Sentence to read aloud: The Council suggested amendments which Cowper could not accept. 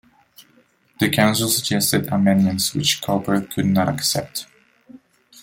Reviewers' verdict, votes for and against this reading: accepted, 2, 0